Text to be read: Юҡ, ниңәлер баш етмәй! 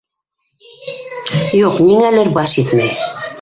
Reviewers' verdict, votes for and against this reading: rejected, 0, 2